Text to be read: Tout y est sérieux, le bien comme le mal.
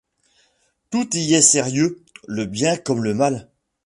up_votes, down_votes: 2, 1